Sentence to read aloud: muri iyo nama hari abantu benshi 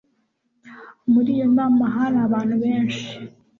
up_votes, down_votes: 3, 0